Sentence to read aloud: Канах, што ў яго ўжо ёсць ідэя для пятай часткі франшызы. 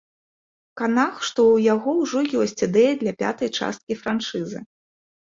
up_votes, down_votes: 3, 0